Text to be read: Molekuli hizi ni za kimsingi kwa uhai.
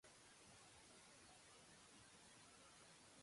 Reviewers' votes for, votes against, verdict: 0, 2, rejected